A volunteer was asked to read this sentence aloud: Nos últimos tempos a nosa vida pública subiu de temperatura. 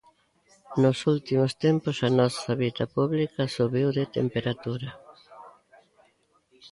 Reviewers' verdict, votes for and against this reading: accepted, 2, 0